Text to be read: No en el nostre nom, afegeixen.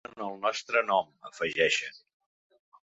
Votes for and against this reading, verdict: 0, 2, rejected